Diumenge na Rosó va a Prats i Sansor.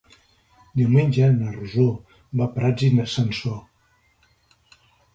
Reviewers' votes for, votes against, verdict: 1, 2, rejected